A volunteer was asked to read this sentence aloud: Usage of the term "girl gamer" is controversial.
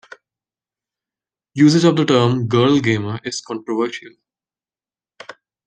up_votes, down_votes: 1, 2